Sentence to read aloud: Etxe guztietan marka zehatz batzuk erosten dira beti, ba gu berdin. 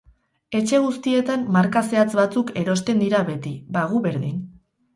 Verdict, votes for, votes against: accepted, 2, 0